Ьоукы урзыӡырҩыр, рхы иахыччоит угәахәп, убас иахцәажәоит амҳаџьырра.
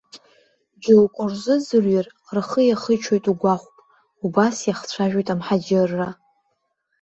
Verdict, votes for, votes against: rejected, 1, 2